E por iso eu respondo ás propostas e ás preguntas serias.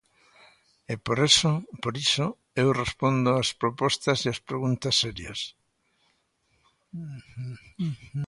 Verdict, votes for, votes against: rejected, 0, 3